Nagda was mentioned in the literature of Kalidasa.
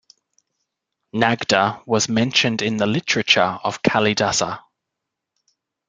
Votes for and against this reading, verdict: 2, 0, accepted